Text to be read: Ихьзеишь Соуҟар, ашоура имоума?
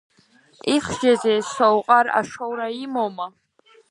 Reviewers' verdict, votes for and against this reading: rejected, 0, 2